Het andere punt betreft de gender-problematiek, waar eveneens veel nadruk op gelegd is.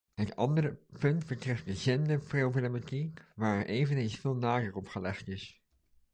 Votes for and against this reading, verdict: 1, 2, rejected